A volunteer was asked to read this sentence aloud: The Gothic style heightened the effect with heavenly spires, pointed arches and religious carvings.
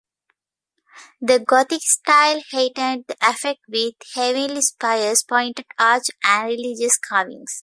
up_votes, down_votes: 1, 2